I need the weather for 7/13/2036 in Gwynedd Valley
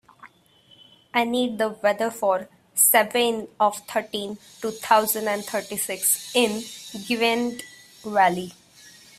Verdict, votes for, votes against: rejected, 0, 2